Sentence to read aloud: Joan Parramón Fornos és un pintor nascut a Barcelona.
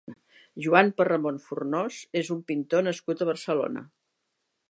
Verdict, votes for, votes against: rejected, 1, 2